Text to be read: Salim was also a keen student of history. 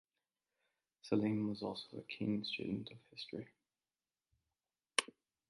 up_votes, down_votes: 2, 1